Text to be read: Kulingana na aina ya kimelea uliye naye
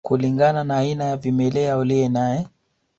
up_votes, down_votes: 2, 1